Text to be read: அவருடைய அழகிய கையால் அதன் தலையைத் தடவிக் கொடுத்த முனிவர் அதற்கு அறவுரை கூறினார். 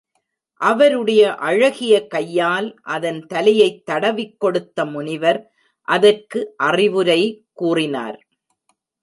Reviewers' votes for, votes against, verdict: 1, 2, rejected